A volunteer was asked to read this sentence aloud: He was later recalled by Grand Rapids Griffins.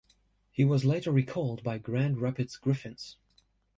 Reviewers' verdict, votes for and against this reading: accepted, 2, 1